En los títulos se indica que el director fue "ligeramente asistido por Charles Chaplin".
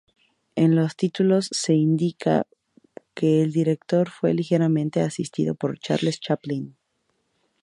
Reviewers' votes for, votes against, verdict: 2, 0, accepted